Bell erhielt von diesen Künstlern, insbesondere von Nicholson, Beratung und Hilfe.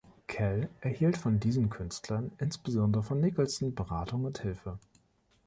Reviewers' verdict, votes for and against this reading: rejected, 0, 2